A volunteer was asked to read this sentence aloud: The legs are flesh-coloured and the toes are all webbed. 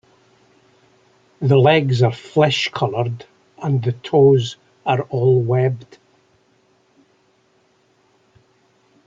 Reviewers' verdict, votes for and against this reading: accepted, 2, 0